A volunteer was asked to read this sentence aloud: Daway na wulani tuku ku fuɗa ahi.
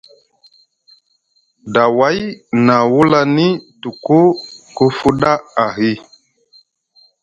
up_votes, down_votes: 2, 0